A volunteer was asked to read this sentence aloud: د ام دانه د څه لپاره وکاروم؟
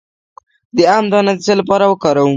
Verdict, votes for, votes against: rejected, 0, 2